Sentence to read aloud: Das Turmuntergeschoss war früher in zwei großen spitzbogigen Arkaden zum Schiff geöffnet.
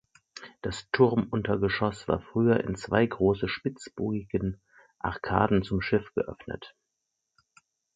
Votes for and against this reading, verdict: 2, 4, rejected